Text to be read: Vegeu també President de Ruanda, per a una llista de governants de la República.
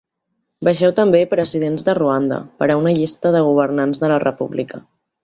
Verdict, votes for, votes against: rejected, 1, 2